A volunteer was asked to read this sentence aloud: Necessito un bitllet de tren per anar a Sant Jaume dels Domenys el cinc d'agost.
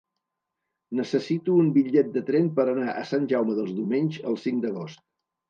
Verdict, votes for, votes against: accepted, 2, 0